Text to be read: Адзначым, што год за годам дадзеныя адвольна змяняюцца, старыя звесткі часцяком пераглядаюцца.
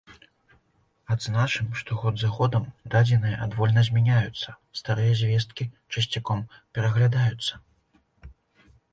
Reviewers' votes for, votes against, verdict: 2, 0, accepted